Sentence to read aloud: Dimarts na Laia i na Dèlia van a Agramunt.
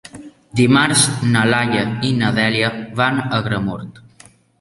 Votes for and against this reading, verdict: 3, 1, accepted